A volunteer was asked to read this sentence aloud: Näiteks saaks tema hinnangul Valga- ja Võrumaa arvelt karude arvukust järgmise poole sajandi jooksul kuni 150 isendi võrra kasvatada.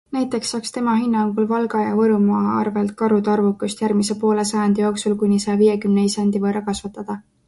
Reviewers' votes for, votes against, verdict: 0, 2, rejected